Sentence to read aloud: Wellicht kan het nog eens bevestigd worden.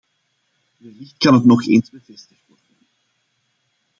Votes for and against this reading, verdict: 0, 2, rejected